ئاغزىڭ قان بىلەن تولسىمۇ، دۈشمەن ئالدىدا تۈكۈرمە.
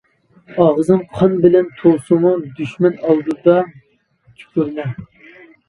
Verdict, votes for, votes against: rejected, 0, 2